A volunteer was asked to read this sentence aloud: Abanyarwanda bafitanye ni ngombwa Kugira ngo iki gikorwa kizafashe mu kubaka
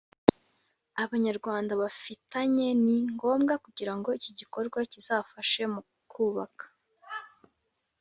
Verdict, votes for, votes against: accepted, 2, 0